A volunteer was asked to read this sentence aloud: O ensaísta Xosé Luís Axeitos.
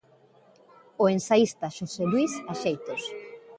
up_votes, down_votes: 2, 0